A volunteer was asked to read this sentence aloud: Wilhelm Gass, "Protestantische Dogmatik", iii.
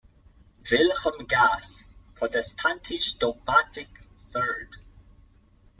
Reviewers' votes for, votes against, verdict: 3, 1, accepted